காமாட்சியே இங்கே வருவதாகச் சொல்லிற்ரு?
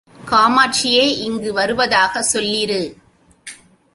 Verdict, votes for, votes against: rejected, 1, 2